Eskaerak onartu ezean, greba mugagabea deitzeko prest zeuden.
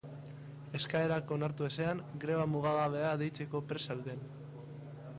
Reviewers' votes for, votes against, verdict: 3, 0, accepted